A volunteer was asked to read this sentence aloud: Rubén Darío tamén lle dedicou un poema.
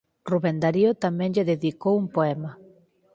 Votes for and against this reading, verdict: 4, 0, accepted